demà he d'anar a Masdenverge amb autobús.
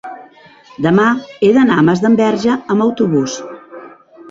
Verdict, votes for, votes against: rejected, 0, 2